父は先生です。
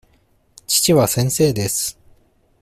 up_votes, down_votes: 2, 0